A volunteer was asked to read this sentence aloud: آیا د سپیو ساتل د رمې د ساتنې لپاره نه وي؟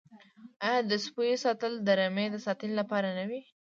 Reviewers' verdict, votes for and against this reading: accepted, 2, 0